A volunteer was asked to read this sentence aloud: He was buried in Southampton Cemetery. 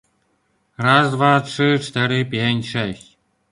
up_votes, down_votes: 0, 2